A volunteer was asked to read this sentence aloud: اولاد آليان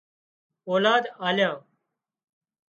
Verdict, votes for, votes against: accepted, 2, 0